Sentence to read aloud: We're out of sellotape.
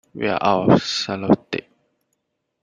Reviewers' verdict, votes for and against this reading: rejected, 1, 2